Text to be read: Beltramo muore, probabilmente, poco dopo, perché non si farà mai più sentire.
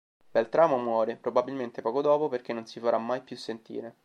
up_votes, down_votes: 3, 0